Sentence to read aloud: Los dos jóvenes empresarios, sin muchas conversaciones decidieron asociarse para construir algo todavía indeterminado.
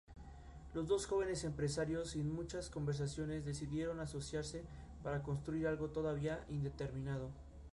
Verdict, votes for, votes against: accepted, 2, 0